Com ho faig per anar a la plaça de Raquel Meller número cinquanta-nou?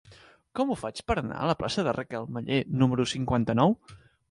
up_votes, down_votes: 2, 1